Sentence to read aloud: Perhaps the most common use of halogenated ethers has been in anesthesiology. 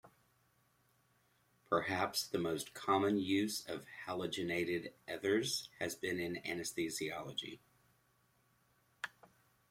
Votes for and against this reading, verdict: 3, 0, accepted